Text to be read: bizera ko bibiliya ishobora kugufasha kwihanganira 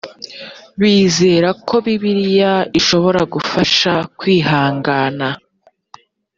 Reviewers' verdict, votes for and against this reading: rejected, 0, 2